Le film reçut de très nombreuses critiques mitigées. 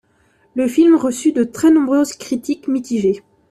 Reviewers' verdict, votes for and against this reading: accepted, 2, 0